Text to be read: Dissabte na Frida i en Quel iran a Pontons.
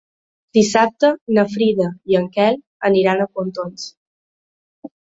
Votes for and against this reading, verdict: 1, 2, rejected